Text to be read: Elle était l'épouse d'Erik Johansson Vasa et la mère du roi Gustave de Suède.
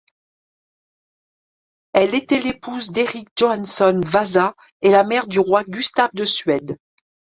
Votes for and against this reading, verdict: 1, 2, rejected